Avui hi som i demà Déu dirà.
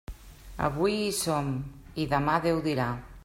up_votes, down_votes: 3, 0